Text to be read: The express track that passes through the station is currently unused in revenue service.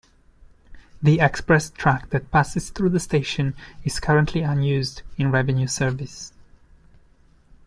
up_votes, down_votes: 2, 0